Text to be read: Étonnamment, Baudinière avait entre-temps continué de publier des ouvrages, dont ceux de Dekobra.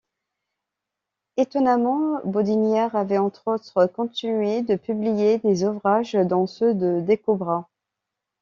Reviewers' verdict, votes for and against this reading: rejected, 1, 2